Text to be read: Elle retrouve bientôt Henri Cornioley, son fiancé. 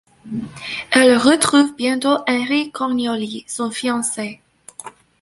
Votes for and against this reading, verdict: 1, 2, rejected